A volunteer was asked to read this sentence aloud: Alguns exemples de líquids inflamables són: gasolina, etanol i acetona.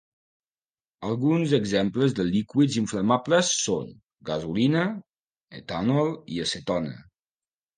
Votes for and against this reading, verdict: 1, 2, rejected